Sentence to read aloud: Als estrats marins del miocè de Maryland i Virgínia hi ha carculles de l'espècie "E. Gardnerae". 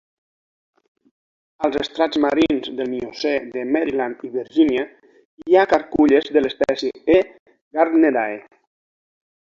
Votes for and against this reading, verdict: 2, 0, accepted